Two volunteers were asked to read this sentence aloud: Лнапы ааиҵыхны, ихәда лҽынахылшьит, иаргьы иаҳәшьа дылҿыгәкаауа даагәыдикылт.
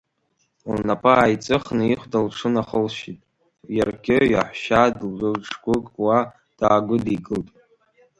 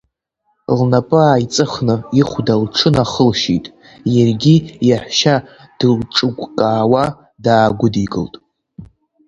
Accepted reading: second